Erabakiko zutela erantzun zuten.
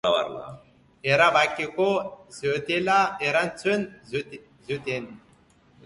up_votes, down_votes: 0, 2